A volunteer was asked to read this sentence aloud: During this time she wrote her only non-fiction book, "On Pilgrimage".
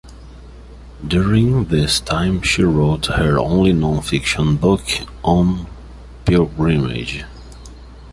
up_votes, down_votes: 2, 0